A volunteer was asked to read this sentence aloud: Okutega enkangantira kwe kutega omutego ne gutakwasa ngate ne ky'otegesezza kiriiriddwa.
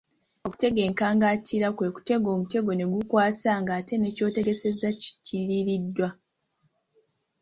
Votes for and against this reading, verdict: 3, 0, accepted